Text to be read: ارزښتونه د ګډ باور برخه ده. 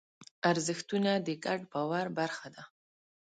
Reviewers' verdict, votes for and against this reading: accepted, 2, 0